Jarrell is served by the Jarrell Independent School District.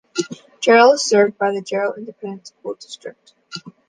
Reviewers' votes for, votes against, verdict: 2, 1, accepted